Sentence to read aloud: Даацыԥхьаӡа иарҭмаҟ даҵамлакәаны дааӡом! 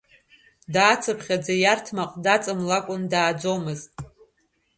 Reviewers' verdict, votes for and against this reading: rejected, 0, 2